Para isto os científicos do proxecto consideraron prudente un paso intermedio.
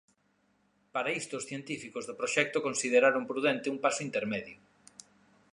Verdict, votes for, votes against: accepted, 2, 0